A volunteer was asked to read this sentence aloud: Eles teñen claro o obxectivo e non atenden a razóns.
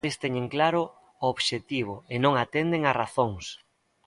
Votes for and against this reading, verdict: 1, 2, rejected